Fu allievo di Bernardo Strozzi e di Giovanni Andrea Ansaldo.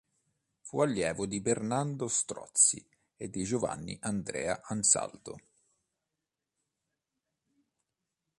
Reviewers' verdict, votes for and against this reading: accepted, 2, 0